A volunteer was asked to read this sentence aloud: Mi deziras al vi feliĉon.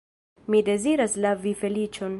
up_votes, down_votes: 1, 2